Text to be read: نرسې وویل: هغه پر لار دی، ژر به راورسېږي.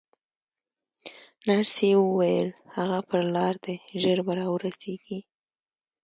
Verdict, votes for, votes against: accepted, 2, 0